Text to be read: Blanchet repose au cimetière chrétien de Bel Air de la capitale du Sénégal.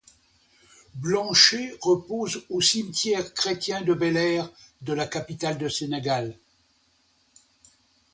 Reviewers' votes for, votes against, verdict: 0, 2, rejected